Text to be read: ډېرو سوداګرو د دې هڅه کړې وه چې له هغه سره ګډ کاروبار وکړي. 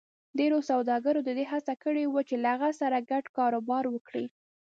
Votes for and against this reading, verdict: 1, 2, rejected